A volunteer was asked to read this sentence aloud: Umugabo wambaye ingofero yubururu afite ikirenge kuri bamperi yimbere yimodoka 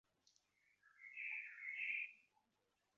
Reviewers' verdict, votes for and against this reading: rejected, 0, 2